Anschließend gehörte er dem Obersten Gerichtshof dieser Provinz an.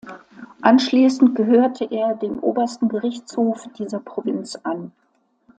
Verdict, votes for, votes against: accepted, 2, 0